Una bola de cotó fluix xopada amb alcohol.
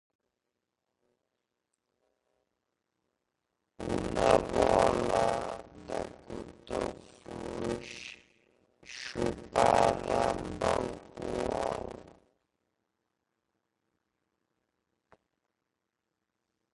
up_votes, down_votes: 0, 2